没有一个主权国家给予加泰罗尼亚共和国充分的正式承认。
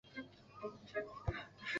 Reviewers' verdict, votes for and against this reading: rejected, 2, 3